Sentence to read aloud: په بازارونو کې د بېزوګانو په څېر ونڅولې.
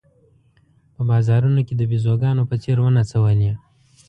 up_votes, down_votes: 2, 0